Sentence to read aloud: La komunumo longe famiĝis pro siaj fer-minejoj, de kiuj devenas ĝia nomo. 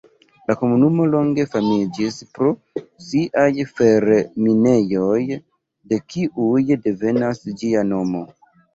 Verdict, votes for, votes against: accepted, 2, 1